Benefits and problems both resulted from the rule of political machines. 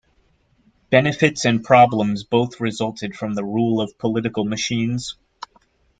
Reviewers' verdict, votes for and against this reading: accepted, 2, 0